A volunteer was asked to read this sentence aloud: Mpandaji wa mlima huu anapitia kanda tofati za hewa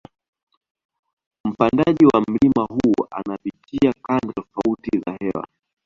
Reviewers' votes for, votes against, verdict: 2, 1, accepted